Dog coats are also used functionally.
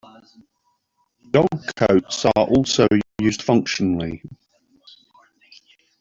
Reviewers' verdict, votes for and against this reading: rejected, 1, 2